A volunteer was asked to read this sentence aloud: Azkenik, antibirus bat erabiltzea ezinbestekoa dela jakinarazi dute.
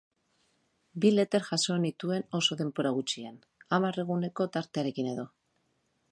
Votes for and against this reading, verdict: 1, 2, rejected